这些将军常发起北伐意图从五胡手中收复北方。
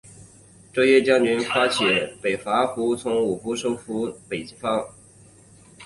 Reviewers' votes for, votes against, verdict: 3, 4, rejected